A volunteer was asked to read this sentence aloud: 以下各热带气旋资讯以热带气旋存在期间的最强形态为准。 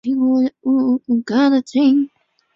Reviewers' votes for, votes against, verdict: 0, 2, rejected